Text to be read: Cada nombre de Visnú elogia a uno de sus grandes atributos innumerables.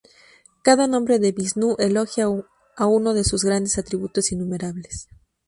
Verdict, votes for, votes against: rejected, 0, 2